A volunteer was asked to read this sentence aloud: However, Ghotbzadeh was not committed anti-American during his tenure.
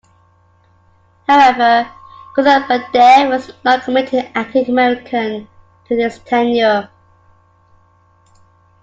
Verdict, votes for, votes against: rejected, 1, 2